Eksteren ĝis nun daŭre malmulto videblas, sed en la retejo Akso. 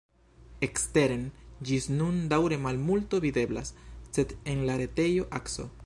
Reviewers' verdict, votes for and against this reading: accepted, 2, 0